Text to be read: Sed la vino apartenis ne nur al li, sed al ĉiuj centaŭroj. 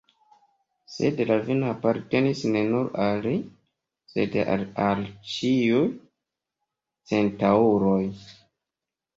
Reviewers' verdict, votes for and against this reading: accepted, 3, 0